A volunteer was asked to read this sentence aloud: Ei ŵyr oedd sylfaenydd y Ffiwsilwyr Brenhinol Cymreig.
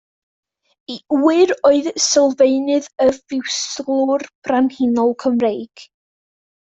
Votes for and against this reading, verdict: 1, 2, rejected